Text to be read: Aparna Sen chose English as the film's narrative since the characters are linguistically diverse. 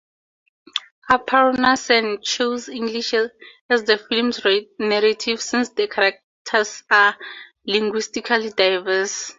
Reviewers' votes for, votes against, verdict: 2, 0, accepted